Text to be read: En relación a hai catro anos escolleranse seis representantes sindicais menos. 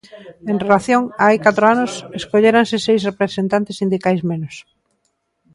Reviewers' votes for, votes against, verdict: 0, 2, rejected